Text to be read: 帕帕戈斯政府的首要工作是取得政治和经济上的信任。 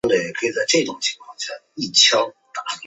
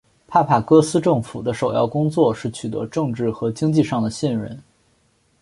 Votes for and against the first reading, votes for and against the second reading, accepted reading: 0, 2, 4, 1, second